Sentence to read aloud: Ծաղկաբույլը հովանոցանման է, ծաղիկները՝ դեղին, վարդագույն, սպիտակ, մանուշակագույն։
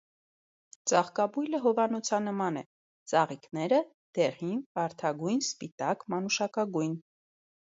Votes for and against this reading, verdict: 2, 0, accepted